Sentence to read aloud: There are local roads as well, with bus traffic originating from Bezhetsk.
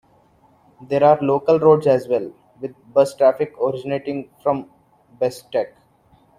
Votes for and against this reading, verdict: 1, 2, rejected